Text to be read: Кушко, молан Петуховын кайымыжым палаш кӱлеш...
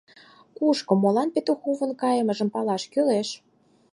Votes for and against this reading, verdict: 4, 0, accepted